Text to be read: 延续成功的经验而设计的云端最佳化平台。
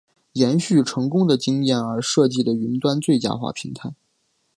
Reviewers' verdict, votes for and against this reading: accepted, 2, 0